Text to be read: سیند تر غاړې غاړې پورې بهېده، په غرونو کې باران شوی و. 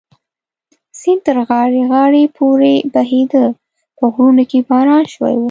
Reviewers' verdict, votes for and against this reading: accepted, 2, 0